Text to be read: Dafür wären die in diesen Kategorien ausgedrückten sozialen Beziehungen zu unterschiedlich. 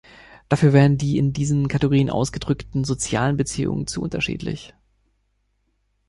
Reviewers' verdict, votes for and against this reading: accepted, 2, 0